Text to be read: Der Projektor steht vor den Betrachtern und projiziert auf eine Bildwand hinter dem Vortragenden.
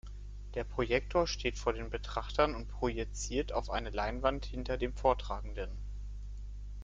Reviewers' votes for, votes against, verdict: 0, 2, rejected